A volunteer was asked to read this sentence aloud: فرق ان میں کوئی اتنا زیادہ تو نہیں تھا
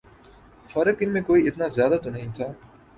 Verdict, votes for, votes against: accepted, 3, 0